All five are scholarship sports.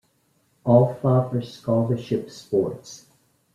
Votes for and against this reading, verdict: 1, 2, rejected